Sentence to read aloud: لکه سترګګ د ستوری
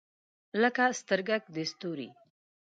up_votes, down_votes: 2, 0